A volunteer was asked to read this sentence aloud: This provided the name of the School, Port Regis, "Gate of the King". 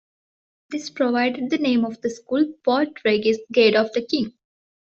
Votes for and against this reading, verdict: 1, 2, rejected